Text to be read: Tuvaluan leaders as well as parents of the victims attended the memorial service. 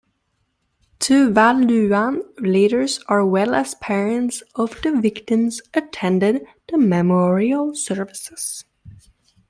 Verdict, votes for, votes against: rejected, 1, 2